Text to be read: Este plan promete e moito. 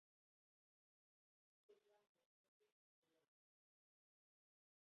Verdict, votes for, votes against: rejected, 0, 2